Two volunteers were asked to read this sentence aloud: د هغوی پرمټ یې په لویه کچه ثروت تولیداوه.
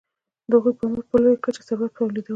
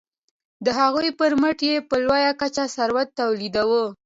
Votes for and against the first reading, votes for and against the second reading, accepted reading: 1, 2, 2, 0, second